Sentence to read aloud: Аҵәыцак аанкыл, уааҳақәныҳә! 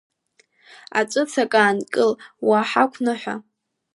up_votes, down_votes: 2, 1